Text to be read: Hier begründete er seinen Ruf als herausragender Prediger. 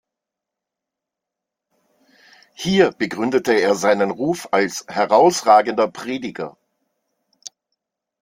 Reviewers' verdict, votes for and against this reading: accepted, 2, 0